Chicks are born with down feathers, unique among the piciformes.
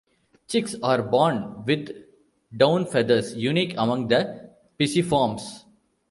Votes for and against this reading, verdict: 0, 2, rejected